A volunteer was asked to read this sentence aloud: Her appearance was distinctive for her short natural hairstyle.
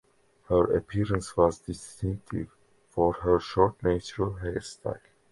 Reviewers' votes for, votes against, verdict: 2, 0, accepted